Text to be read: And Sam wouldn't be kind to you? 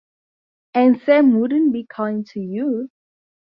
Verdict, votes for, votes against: accepted, 2, 0